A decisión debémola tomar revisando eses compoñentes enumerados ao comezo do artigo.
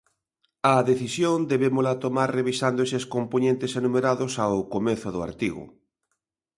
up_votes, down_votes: 2, 1